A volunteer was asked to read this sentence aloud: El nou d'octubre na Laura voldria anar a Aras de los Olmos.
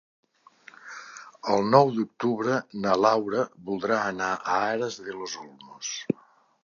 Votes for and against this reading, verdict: 0, 2, rejected